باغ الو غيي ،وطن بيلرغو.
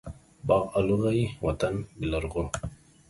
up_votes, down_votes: 2, 1